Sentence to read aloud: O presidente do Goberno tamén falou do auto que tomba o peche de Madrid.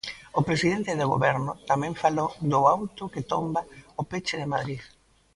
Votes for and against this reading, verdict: 0, 2, rejected